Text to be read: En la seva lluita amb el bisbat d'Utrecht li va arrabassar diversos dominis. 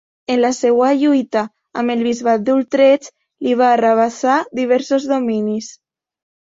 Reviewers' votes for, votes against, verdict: 2, 0, accepted